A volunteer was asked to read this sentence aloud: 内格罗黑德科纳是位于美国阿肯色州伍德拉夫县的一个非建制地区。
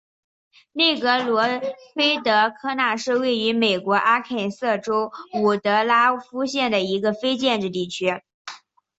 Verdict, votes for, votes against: accepted, 4, 0